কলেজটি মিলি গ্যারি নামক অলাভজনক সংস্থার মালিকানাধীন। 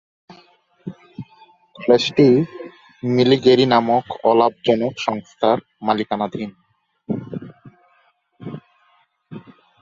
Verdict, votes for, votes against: rejected, 0, 2